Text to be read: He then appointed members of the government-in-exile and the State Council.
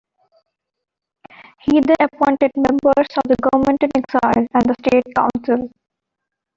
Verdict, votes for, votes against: rejected, 0, 2